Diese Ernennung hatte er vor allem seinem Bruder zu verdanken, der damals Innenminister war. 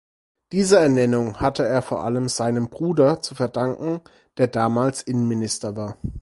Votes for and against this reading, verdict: 4, 0, accepted